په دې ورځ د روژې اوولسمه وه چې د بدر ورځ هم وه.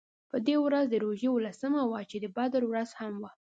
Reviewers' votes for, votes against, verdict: 2, 0, accepted